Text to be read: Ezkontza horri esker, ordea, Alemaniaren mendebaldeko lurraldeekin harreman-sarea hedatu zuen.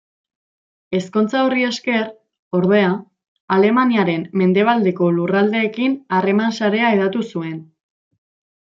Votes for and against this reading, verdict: 2, 0, accepted